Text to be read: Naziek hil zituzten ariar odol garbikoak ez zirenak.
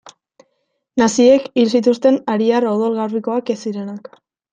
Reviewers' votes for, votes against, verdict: 2, 0, accepted